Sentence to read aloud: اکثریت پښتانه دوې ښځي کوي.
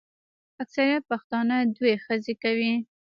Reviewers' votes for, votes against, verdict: 1, 2, rejected